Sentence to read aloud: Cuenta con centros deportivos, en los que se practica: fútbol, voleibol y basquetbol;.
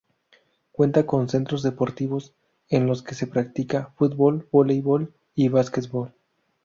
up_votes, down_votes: 2, 0